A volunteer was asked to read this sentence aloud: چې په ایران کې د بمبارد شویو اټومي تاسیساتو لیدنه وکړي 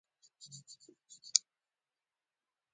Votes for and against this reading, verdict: 0, 2, rejected